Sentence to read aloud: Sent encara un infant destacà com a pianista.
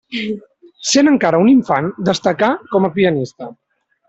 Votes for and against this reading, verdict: 1, 2, rejected